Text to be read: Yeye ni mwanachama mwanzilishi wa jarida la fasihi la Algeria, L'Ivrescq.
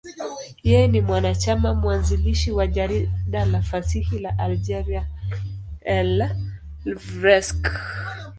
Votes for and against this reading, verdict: 2, 0, accepted